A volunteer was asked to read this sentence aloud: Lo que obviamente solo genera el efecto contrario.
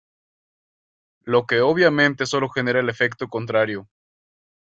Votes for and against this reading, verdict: 0, 2, rejected